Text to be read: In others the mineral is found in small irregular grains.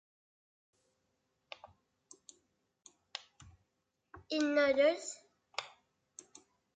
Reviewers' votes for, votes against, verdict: 0, 3, rejected